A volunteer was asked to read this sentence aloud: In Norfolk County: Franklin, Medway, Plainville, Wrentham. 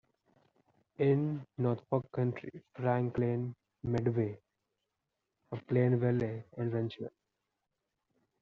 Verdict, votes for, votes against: accepted, 2, 1